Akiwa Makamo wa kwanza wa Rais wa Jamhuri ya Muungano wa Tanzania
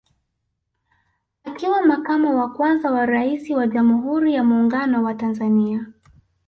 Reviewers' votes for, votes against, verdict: 1, 2, rejected